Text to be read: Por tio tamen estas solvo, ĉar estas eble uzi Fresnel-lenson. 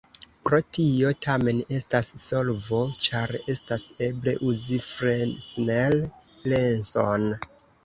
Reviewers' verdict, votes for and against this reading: rejected, 1, 2